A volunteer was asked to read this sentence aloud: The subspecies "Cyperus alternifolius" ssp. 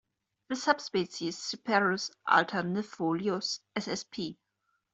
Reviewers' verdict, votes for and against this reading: accepted, 2, 1